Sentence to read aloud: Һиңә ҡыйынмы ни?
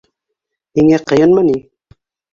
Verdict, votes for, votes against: accepted, 2, 0